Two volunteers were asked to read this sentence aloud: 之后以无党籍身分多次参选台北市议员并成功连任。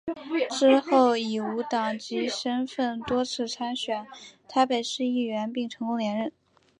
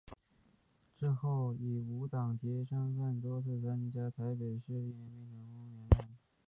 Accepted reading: first